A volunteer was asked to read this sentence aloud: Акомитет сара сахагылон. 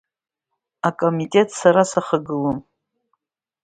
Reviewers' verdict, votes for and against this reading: accepted, 2, 1